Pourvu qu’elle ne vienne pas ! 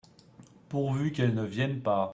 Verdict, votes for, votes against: accepted, 3, 2